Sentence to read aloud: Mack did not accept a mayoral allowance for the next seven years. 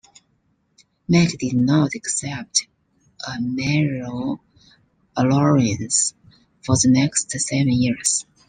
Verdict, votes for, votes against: accepted, 2, 1